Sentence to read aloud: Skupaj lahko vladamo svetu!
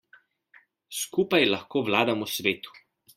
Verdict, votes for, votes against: accepted, 2, 0